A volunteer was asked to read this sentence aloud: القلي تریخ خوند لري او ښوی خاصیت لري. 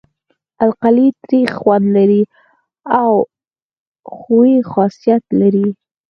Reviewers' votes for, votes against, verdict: 4, 2, accepted